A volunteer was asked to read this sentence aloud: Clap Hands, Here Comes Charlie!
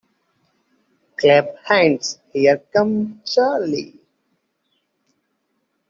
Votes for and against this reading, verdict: 2, 1, accepted